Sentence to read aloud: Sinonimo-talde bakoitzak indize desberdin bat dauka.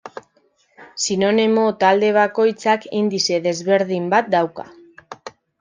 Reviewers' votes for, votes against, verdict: 0, 2, rejected